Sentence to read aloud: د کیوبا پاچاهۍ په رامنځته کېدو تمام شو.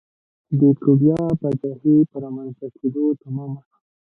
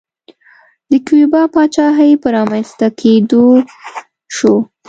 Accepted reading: first